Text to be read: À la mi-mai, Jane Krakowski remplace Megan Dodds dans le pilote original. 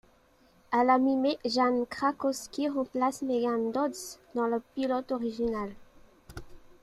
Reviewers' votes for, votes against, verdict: 1, 2, rejected